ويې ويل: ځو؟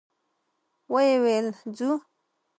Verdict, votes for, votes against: accepted, 2, 0